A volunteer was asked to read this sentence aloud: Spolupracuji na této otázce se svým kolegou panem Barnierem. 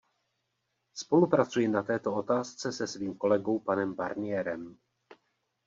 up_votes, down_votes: 2, 0